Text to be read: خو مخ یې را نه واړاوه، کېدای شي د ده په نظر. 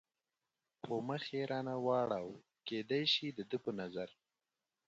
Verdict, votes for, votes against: accepted, 4, 0